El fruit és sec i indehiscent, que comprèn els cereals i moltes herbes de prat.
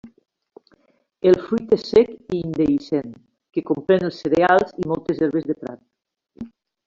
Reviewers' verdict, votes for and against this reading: rejected, 1, 2